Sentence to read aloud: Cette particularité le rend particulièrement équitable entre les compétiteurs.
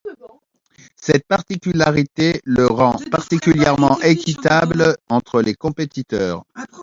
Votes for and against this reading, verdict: 1, 2, rejected